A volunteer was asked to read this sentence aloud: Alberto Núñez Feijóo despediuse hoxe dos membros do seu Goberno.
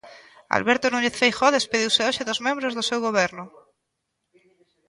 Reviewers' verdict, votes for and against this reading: accepted, 2, 0